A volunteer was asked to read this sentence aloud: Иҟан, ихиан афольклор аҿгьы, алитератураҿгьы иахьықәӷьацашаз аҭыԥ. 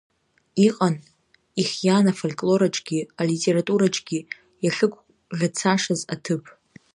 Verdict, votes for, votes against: rejected, 0, 2